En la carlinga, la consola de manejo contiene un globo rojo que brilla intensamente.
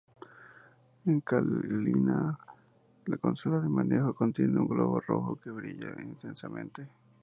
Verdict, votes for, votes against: rejected, 0, 2